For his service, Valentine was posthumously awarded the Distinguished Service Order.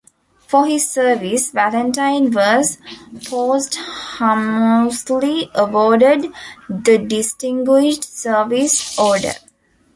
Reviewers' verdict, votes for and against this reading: rejected, 0, 2